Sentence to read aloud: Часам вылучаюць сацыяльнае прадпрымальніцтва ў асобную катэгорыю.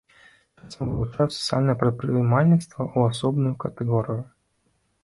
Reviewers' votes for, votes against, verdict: 1, 2, rejected